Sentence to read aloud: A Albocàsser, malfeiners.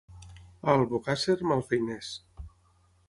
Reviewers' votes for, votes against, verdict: 6, 0, accepted